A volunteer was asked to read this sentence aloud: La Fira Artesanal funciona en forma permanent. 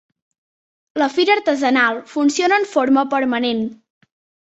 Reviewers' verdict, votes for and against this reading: accepted, 4, 1